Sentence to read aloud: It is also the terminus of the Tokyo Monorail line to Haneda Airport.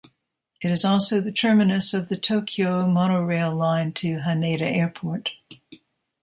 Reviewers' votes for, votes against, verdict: 2, 1, accepted